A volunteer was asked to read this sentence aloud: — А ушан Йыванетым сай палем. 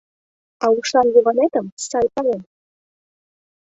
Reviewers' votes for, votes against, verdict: 2, 0, accepted